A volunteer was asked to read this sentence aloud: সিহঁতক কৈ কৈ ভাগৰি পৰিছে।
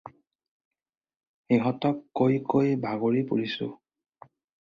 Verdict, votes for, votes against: rejected, 0, 4